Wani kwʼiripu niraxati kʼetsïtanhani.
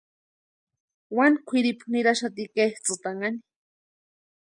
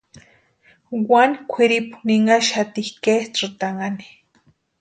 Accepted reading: first